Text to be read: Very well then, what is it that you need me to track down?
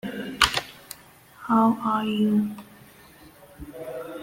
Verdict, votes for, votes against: rejected, 0, 2